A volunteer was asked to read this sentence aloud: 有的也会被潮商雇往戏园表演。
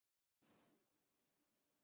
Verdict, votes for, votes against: rejected, 0, 2